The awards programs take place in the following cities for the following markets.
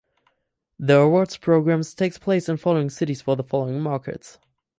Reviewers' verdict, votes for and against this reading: rejected, 0, 4